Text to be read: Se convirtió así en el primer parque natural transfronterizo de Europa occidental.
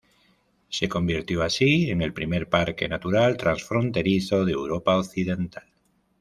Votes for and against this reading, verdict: 2, 0, accepted